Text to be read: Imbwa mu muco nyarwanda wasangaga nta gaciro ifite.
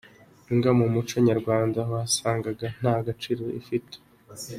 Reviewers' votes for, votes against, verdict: 2, 0, accepted